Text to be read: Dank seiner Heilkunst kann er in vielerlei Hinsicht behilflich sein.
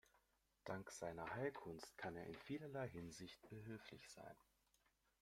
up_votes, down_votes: 2, 0